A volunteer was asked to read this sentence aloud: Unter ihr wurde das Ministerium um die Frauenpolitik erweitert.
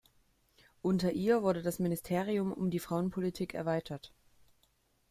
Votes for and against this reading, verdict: 2, 1, accepted